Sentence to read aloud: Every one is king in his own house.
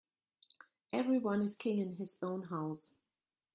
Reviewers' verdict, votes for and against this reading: rejected, 1, 2